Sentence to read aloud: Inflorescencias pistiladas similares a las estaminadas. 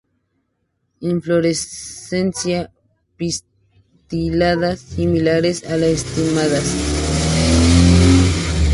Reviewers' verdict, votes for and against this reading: rejected, 0, 2